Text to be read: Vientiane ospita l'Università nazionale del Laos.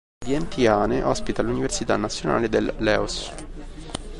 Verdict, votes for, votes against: rejected, 0, 2